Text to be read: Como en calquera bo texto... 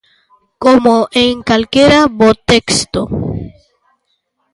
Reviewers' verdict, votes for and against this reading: accepted, 2, 0